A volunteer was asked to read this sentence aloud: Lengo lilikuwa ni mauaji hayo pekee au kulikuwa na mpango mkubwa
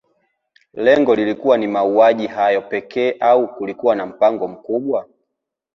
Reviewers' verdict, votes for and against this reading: rejected, 1, 2